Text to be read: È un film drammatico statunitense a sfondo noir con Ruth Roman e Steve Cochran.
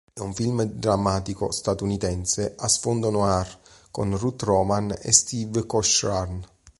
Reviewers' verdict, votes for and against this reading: accepted, 2, 0